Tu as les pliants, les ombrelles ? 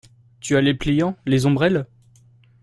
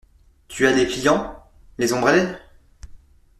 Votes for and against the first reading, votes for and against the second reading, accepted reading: 2, 0, 1, 2, first